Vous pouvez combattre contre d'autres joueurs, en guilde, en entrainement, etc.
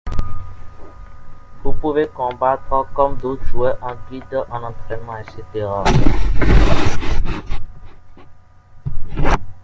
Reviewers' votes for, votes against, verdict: 1, 2, rejected